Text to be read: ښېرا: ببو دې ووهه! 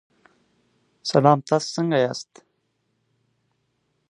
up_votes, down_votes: 0, 6